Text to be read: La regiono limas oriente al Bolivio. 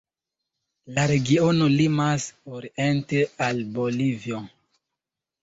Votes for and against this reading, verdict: 1, 2, rejected